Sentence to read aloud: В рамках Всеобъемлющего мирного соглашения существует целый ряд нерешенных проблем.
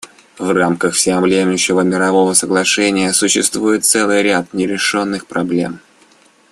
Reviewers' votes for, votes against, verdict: 0, 2, rejected